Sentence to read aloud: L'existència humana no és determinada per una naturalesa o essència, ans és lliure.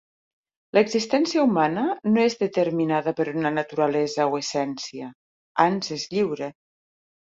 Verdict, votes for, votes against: accepted, 3, 0